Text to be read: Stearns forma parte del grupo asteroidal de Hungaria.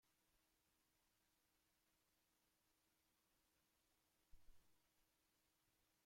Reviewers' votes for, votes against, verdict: 0, 2, rejected